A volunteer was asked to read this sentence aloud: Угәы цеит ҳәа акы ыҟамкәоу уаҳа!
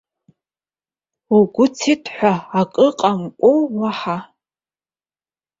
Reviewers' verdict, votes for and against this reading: rejected, 1, 2